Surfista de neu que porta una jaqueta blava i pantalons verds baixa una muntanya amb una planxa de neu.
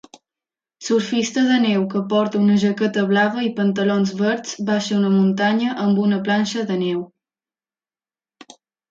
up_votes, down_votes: 2, 0